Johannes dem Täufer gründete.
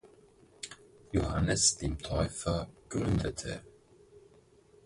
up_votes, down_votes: 4, 2